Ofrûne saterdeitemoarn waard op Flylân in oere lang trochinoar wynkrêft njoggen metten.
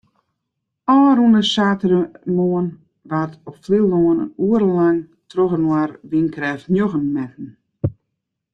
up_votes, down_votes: 1, 2